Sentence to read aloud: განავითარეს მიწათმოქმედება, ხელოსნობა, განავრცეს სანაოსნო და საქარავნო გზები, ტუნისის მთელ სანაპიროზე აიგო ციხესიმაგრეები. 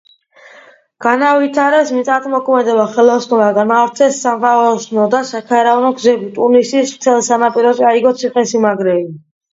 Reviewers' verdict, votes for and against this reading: accepted, 2, 0